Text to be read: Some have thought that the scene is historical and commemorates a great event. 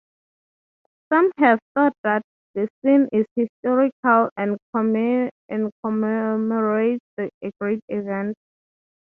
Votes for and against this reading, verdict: 0, 6, rejected